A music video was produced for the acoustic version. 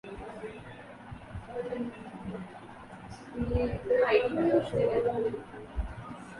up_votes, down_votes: 0, 2